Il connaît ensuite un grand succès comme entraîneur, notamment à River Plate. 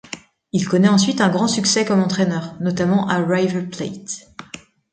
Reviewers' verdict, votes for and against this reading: rejected, 0, 2